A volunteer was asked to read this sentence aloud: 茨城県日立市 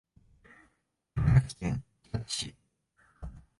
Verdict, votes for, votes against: accepted, 2, 1